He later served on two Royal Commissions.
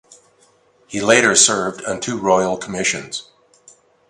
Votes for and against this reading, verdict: 2, 0, accepted